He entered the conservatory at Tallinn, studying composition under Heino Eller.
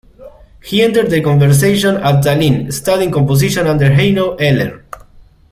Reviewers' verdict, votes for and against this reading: rejected, 0, 2